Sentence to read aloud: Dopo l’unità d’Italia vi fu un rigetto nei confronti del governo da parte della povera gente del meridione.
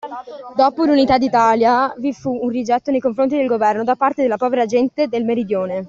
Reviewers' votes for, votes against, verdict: 2, 0, accepted